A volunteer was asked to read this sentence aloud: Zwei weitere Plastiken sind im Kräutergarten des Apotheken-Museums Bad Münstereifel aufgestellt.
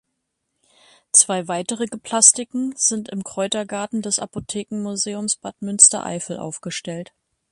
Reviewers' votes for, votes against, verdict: 1, 2, rejected